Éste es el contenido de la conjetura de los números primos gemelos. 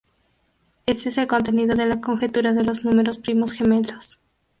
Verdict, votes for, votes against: rejected, 0, 2